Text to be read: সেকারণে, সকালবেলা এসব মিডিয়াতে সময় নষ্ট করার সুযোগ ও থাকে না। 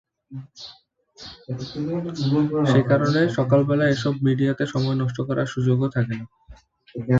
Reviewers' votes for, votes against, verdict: 1, 2, rejected